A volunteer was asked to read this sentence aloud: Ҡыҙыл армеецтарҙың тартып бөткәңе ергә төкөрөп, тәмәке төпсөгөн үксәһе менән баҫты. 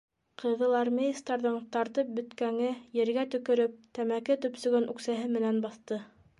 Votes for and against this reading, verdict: 2, 0, accepted